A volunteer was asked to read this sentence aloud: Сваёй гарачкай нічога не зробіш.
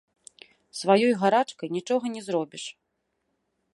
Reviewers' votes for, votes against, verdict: 2, 0, accepted